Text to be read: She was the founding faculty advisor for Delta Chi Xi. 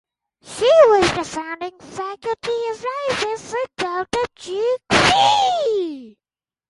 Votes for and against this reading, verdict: 4, 0, accepted